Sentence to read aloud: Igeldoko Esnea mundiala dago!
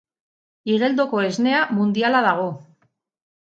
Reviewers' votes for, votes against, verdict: 8, 0, accepted